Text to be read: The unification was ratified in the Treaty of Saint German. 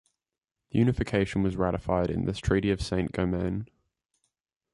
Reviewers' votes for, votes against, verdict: 1, 2, rejected